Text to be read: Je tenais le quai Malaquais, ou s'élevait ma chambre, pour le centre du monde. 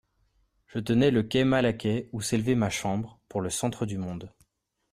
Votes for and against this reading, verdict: 2, 0, accepted